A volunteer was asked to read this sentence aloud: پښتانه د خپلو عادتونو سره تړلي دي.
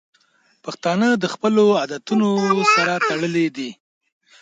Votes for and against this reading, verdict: 1, 2, rejected